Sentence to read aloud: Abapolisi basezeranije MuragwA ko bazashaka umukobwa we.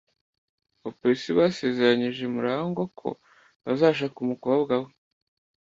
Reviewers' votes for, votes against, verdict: 1, 2, rejected